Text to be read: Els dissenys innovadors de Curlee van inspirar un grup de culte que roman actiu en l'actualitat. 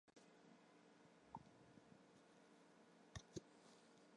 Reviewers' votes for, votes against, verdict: 0, 2, rejected